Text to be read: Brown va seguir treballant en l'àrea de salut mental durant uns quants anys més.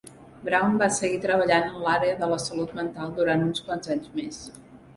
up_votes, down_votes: 1, 2